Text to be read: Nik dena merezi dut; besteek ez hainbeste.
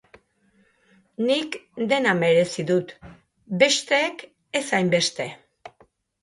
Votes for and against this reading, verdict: 2, 0, accepted